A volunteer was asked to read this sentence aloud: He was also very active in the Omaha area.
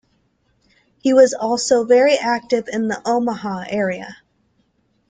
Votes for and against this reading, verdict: 2, 0, accepted